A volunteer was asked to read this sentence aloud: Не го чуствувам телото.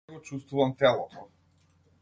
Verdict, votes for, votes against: rejected, 0, 2